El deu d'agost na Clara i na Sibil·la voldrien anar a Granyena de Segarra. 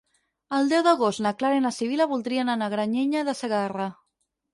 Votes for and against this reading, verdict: 0, 4, rejected